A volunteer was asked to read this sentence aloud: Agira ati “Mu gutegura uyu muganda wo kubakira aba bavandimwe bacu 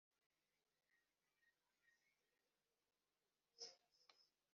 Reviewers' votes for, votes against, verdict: 0, 2, rejected